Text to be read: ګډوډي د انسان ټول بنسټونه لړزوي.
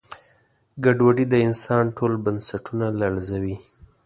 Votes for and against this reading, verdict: 2, 0, accepted